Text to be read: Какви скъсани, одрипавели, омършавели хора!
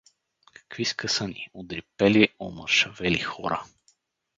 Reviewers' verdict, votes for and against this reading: rejected, 0, 4